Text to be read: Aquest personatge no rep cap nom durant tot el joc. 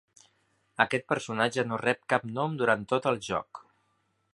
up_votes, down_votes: 5, 0